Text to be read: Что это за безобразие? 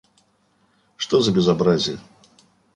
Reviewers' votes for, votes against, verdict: 1, 2, rejected